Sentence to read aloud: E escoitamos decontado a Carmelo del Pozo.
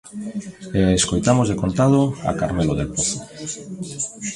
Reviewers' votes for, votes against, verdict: 0, 2, rejected